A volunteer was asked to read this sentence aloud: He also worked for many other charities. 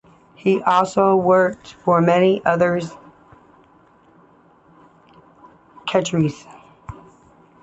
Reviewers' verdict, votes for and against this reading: rejected, 1, 2